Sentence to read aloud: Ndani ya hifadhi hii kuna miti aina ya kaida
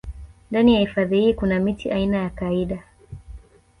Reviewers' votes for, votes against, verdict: 2, 0, accepted